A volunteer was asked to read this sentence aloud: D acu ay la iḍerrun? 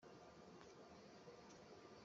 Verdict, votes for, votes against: rejected, 1, 2